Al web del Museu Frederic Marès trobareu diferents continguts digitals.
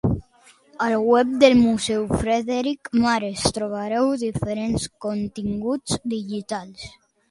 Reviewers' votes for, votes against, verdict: 0, 2, rejected